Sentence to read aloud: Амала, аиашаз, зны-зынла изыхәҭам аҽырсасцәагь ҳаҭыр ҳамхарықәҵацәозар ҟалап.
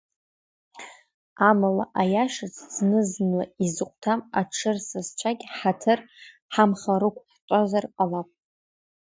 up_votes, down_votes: 0, 2